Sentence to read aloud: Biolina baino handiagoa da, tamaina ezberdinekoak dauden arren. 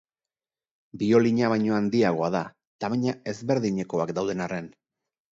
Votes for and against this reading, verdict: 4, 0, accepted